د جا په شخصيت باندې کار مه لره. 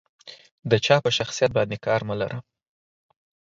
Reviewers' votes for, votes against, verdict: 4, 2, accepted